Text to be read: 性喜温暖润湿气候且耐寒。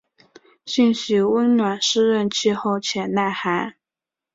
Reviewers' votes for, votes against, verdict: 2, 0, accepted